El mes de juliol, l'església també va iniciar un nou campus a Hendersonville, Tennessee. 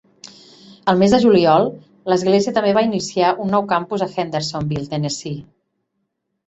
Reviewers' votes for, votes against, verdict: 3, 0, accepted